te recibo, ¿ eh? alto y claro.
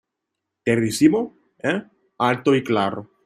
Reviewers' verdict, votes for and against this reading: accepted, 2, 1